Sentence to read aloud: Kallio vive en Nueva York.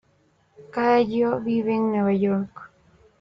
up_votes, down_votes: 1, 2